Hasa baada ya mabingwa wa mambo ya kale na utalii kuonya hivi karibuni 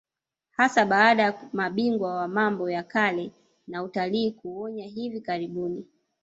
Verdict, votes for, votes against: rejected, 1, 2